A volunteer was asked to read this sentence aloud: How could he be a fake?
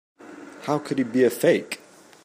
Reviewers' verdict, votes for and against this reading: accepted, 2, 0